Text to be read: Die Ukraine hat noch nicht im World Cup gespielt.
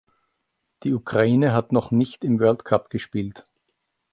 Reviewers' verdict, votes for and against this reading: accepted, 2, 0